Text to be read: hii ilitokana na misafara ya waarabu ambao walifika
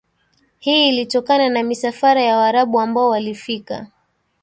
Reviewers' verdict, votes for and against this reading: rejected, 1, 2